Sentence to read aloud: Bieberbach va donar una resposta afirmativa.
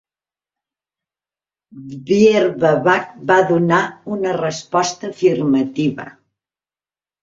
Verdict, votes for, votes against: rejected, 0, 2